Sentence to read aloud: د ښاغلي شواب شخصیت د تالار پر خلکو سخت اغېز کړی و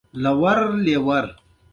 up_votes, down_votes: 1, 2